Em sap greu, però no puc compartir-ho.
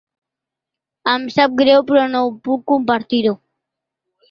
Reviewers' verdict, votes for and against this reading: rejected, 1, 2